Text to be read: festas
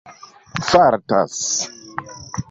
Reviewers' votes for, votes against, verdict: 0, 2, rejected